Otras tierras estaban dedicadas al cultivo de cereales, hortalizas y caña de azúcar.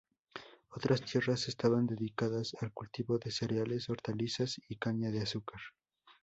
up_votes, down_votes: 0, 2